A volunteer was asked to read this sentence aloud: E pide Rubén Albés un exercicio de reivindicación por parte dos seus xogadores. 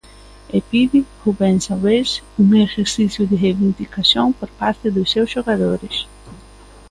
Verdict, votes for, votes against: rejected, 0, 2